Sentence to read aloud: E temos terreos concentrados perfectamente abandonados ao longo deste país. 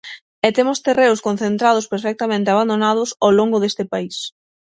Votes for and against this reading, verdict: 9, 0, accepted